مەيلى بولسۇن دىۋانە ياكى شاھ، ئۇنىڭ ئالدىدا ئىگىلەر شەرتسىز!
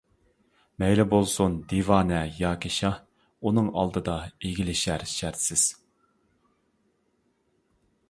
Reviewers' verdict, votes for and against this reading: rejected, 0, 2